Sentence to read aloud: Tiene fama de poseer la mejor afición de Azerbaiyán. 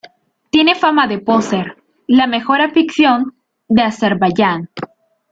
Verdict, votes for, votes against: rejected, 0, 2